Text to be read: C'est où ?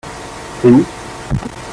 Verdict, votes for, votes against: accepted, 2, 1